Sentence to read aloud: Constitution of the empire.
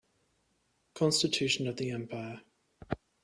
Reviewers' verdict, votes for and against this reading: accepted, 2, 0